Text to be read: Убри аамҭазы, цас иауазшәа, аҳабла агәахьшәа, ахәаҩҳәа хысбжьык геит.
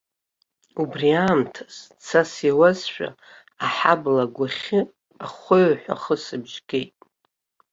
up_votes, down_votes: 0, 2